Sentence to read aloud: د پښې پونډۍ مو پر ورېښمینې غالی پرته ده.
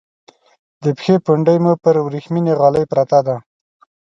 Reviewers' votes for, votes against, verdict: 2, 0, accepted